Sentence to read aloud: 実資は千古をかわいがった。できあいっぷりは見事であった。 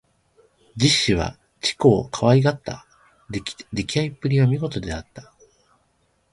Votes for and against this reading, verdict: 1, 2, rejected